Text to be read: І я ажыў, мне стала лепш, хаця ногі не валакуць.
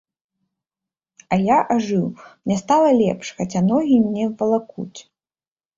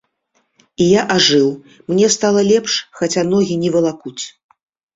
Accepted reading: second